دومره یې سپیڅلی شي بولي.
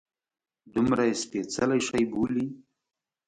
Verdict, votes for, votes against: accepted, 2, 0